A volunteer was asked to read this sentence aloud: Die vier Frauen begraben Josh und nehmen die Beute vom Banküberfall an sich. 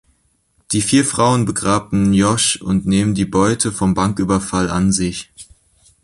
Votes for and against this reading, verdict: 1, 2, rejected